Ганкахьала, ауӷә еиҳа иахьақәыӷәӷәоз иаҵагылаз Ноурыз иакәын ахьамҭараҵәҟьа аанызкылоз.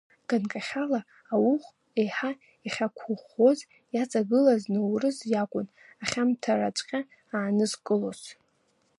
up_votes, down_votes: 1, 2